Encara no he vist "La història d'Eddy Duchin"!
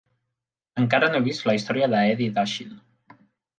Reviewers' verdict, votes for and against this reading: rejected, 0, 3